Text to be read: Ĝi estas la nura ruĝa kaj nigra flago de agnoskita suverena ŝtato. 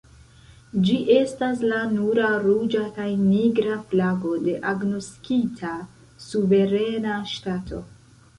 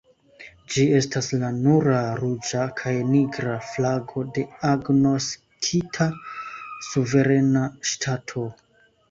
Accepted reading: second